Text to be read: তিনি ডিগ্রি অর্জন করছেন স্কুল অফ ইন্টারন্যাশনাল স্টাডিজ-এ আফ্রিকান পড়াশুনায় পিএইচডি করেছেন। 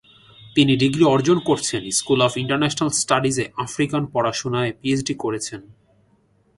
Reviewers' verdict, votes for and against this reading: accepted, 2, 0